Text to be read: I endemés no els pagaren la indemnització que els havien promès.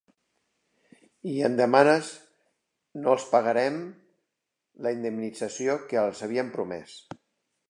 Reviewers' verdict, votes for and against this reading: rejected, 0, 2